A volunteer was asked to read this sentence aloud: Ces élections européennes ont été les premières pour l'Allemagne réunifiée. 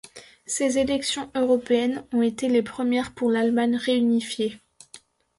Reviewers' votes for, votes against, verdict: 2, 0, accepted